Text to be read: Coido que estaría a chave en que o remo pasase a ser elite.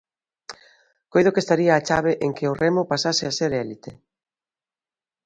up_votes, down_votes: 0, 2